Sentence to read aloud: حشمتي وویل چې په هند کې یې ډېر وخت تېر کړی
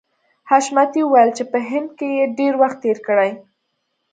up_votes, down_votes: 2, 0